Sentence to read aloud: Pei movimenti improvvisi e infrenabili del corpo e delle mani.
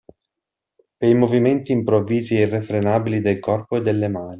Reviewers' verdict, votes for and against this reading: rejected, 1, 2